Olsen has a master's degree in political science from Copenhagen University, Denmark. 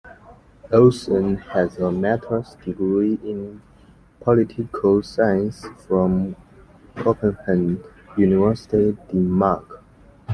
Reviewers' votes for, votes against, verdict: 2, 0, accepted